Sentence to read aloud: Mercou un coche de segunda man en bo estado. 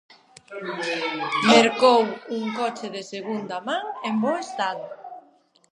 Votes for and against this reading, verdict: 0, 2, rejected